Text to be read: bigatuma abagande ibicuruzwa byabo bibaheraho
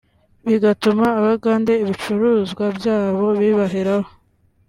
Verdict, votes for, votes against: accepted, 3, 0